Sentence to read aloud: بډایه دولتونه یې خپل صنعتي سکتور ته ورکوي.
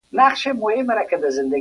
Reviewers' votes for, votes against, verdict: 0, 2, rejected